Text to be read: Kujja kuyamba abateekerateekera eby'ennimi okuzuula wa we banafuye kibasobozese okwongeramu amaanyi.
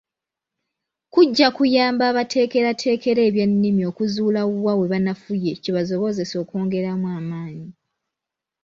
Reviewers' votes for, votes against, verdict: 1, 2, rejected